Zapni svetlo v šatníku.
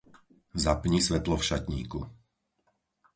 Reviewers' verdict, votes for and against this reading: accepted, 4, 0